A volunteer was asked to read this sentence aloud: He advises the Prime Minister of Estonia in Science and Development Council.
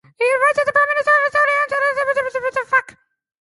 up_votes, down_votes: 0, 3